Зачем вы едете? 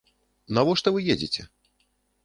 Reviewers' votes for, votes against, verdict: 0, 2, rejected